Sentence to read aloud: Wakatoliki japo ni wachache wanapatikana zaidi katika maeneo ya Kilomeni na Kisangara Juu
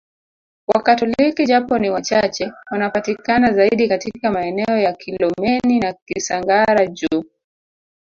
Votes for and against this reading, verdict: 2, 5, rejected